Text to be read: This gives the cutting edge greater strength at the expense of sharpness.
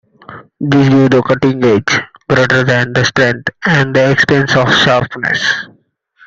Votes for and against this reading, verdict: 1, 2, rejected